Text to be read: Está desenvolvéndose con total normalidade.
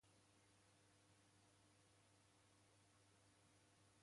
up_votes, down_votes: 0, 2